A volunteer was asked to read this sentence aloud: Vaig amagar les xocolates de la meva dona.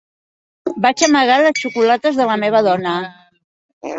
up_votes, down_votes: 0, 2